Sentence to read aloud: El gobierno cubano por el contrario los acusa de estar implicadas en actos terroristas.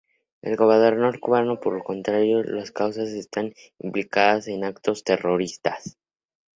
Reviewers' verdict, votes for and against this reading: rejected, 0, 2